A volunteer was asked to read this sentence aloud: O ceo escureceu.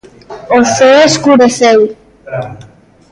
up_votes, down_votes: 1, 2